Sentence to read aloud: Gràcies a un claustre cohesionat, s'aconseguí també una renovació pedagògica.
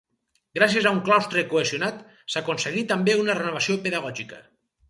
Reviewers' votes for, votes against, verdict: 4, 0, accepted